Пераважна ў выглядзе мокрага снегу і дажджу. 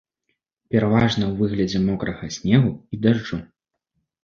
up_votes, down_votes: 2, 0